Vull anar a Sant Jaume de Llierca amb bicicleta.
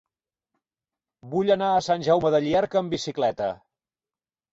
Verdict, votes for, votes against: accepted, 4, 0